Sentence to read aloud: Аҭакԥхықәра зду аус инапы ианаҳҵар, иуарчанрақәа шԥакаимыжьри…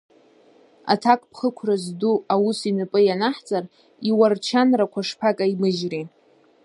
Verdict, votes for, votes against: rejected, 0, 2